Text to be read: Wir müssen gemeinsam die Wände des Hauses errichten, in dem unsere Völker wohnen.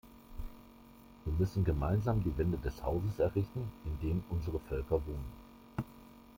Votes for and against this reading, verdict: 0, 2, rejected